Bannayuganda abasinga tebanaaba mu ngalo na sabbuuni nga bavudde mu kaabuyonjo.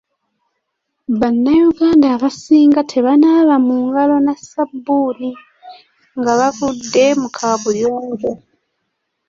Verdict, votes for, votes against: accepted, 2, 0